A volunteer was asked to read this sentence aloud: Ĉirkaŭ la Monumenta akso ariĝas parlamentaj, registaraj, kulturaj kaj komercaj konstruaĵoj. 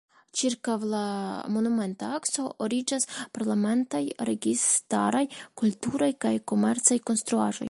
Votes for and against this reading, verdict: 1, 2, rejected